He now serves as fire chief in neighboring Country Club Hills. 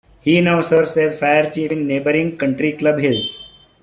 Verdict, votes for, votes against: accepted, 2, 1